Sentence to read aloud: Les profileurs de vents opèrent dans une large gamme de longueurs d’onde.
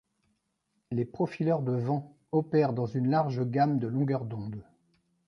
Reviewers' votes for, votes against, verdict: 0, 2, rejected